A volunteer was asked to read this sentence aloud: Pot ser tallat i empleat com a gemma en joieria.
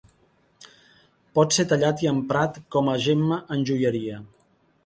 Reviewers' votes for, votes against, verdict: 0, 2, rejected